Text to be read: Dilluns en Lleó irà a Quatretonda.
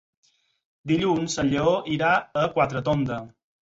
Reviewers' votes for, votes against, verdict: 4, 0, accepted